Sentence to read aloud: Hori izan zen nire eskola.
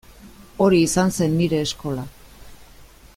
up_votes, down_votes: 2, 0